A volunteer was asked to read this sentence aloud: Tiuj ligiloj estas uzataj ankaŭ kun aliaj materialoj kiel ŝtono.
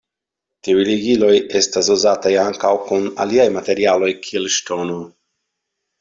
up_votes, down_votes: 2, 0